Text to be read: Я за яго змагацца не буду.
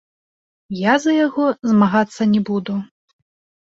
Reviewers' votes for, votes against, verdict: 2, 0, accepted